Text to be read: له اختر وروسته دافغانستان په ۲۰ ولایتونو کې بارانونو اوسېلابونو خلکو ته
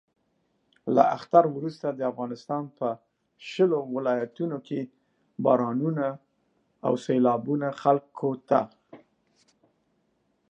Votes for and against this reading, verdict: 0, 2, rejected